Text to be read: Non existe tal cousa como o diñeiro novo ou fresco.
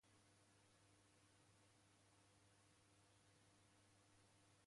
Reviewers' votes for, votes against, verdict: 0, 2, rejected